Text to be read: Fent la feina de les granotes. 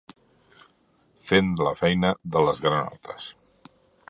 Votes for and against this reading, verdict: 3, 1, accepted